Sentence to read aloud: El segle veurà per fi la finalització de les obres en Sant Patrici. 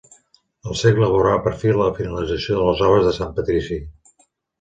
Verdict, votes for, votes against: rejected, 1, 2